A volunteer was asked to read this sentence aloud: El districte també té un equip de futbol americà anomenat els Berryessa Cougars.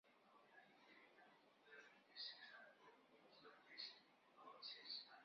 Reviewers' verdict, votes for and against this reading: rejected, 0, 3